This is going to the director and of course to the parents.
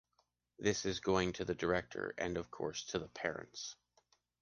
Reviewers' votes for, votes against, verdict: 2, 0, accepted